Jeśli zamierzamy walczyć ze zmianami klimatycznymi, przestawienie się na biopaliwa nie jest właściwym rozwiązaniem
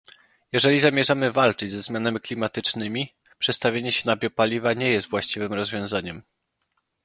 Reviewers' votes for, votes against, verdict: 0, 2, rejected